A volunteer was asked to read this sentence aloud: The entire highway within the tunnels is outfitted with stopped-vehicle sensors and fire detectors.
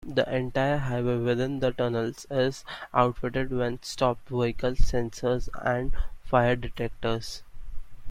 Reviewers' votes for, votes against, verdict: 2, 0, accepted